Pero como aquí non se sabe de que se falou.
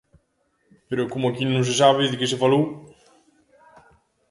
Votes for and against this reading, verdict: 1, 2, rejected